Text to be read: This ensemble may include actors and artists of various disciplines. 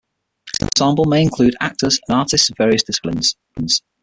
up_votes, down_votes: 3, 6